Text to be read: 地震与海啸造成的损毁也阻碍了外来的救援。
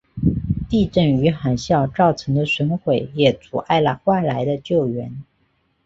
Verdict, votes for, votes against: accepted, 2, 0